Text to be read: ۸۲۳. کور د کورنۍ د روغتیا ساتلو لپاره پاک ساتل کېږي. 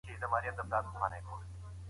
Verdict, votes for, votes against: rejected, 0, 2